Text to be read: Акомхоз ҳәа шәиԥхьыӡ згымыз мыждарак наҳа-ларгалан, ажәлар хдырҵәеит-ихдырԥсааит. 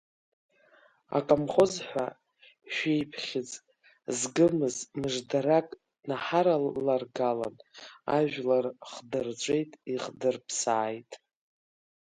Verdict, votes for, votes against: rejected, 1, 2